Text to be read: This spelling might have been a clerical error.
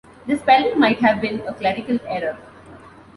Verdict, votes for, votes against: accepted, 2, 0